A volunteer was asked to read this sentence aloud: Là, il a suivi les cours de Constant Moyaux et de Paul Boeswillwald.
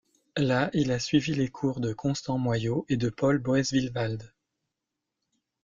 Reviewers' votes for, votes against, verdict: 2, 1, accepted